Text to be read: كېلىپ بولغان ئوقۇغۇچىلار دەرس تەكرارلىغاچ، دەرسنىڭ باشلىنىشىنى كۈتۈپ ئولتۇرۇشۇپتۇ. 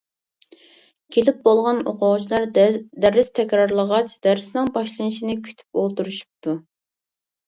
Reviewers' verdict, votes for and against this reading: rejected, 1, 2